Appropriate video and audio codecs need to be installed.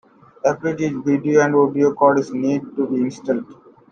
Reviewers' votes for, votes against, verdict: 0, 2, rejected